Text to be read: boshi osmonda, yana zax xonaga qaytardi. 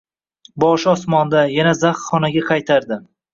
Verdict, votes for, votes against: accepted, 2, 1